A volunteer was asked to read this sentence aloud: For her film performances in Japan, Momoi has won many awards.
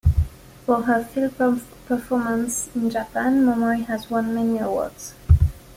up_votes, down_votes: 0, 2